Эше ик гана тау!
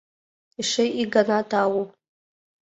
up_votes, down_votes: 2, 0